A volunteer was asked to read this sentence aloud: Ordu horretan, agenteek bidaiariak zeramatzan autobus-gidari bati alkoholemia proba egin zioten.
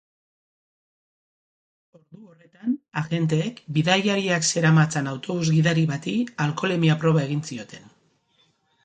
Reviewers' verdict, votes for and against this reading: rejected, 2, 6